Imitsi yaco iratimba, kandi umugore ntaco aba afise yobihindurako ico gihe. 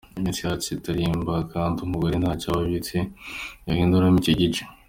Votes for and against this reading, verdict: 0, 2, rejected